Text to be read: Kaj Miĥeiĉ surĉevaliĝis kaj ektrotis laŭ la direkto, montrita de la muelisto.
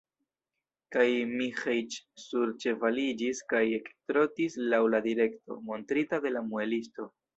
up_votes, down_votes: 1, 2